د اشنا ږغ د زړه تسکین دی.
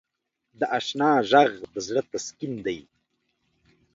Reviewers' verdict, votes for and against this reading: accepted, 2, 0